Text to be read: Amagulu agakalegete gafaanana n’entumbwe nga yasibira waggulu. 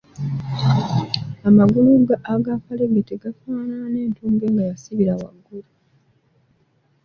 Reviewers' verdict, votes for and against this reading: accepted, 3, 1